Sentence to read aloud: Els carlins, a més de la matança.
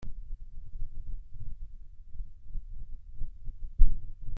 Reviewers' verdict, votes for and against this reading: rejected, 0, 2